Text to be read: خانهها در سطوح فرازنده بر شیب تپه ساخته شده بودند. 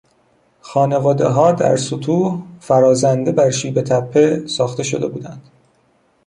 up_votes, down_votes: 1, 2